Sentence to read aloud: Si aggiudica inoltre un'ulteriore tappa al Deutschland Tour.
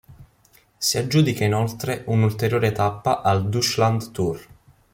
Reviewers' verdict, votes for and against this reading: rejected, 0, 2